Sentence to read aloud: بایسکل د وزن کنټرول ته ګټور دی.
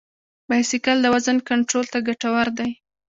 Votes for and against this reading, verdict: 2, 1, accepted